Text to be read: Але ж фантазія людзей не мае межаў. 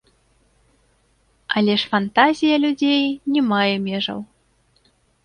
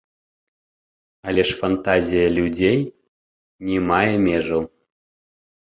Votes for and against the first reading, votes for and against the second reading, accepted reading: 2, 0, 1, 2, first